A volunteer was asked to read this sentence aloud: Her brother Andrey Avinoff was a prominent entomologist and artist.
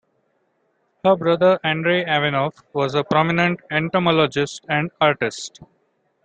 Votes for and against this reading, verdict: 2, 0, accepted